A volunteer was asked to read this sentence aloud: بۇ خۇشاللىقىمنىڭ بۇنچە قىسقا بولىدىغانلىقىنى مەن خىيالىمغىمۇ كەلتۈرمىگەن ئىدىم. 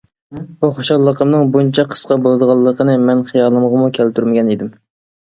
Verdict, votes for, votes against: accepted, 2, 0